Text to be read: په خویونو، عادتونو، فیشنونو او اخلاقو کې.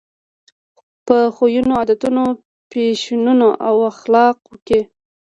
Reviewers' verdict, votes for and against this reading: accepted, 2, 0